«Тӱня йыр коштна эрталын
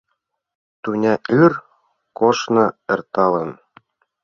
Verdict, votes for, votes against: rejected, 2, 3